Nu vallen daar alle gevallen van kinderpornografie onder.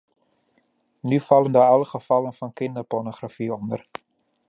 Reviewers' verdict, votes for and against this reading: accepted, 2, 0